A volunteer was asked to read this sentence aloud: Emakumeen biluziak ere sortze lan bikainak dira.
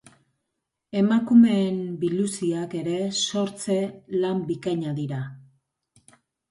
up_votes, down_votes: 3, 0